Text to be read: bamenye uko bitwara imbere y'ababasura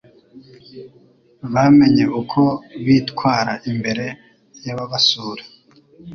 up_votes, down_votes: 2, 0